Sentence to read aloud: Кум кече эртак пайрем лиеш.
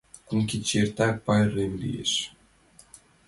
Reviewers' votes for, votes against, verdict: 2, 0, accepted